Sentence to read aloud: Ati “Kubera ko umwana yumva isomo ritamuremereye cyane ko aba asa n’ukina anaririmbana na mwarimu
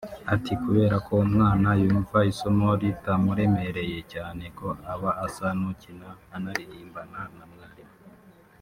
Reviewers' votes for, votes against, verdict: 0, 2, rejected